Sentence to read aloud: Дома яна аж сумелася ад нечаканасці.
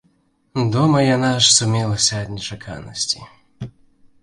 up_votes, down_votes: 2, 0